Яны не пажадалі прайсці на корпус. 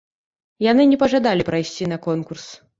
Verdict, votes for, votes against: rejected, 0, 2